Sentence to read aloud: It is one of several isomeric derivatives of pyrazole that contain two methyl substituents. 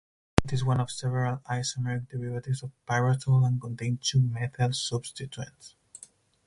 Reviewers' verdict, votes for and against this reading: rejected, 2, 4